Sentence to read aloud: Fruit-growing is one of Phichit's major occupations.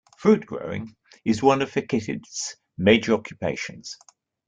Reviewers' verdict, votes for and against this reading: rejected, 0, 2